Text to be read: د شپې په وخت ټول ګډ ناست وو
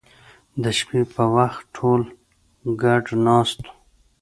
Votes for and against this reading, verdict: 2, 0, accepted